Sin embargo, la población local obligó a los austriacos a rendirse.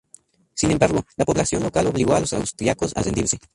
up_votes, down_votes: 2, 0